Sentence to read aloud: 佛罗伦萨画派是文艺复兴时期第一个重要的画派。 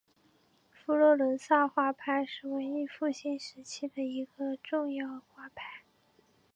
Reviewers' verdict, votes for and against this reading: rejected, 2, 3